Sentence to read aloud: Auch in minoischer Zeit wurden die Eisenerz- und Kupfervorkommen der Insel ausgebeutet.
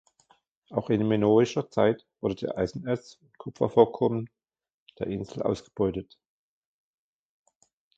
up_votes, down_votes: 0, 2